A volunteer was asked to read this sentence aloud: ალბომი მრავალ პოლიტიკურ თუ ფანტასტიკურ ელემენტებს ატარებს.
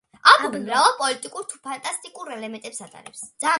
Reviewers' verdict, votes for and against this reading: accepted, 2, 1